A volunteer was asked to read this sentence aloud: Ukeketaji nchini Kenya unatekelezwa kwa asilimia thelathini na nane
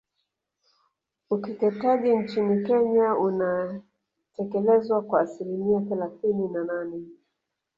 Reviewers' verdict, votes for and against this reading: rejected, 1, 2